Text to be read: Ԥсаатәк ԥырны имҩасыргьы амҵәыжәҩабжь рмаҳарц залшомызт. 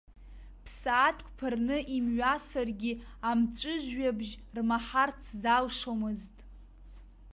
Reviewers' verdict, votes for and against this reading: accepted, 2, 0